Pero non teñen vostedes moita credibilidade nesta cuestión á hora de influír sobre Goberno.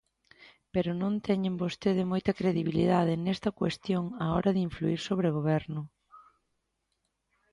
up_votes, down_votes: 0, 2